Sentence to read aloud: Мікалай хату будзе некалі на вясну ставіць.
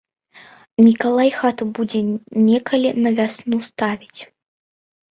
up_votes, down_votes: 2, 1